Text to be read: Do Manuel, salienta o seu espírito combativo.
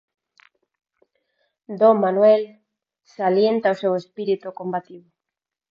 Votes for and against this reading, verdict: 4, 0, accepted